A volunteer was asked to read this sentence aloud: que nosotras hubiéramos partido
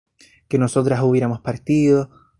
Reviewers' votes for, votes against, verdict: 2, 0, accepted